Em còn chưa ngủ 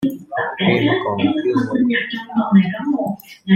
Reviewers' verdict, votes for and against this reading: rejected, 0, 2